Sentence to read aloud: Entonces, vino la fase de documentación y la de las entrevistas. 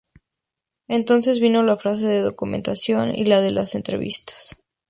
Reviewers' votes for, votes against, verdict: 2, 0, accepted